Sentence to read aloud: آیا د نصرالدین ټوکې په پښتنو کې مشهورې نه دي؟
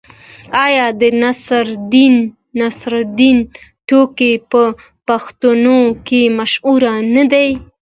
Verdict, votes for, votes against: accepted, 2, 0